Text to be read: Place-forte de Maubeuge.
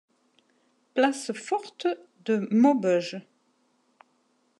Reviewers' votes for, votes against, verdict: 2, 0, accepted